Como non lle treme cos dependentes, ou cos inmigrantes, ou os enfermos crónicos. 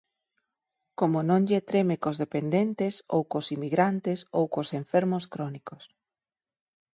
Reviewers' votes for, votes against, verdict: 2, 4, rejected